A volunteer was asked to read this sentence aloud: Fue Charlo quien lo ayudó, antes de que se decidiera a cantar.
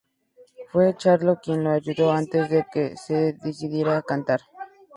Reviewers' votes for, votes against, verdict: 2, 0, accepted